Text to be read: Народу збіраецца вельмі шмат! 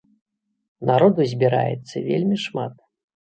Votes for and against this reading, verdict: 2, 0, accepted